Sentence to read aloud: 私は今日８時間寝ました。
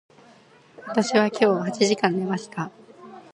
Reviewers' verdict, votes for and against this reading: rejected, 0, 2